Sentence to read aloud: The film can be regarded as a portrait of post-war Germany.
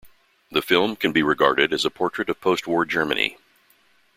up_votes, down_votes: 2, 0